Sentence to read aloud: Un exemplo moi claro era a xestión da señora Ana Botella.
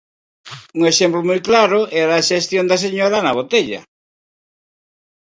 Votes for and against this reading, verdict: 4, 0, accepted